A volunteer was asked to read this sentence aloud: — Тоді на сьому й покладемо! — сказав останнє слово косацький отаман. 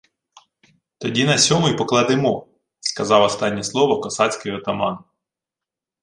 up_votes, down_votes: 2, 0